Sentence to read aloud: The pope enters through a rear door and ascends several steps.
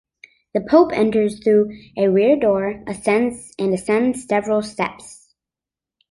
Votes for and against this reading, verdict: 0, 3, rejected